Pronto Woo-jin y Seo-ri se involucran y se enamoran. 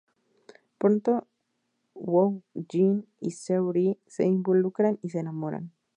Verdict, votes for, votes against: rejected, 2, 2